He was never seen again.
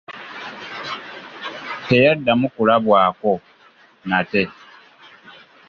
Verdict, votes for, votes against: rejected, 0, 2